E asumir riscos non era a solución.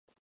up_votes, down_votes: 0, 2